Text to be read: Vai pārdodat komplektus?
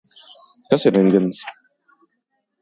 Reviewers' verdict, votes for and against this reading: rejected, 0, 2